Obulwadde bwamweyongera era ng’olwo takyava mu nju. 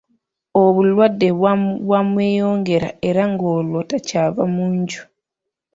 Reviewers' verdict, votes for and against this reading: accepted, 2, 0